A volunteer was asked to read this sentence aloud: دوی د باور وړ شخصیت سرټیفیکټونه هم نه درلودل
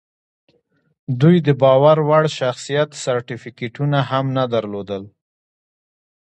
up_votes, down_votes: 2, 0